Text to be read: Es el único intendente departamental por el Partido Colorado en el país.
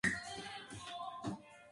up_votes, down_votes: 2, 0